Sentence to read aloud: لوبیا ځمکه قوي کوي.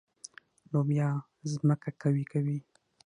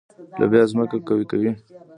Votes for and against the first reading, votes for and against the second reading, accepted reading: 6, 0, 1, 2, first